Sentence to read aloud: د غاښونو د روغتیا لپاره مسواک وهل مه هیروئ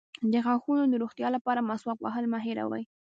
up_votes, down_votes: 0, 2